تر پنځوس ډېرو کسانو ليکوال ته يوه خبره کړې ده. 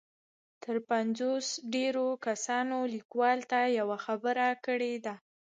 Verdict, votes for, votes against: rejected, 1, 2